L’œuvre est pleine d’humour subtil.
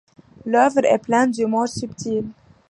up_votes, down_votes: 2, 0